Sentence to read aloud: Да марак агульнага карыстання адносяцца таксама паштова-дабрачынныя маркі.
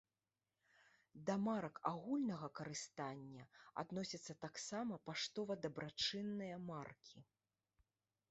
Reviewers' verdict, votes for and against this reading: accepted, 2, 1